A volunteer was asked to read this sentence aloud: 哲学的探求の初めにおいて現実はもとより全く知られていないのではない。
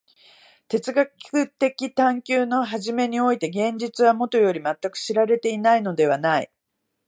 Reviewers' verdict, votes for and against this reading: rejected, 0, 2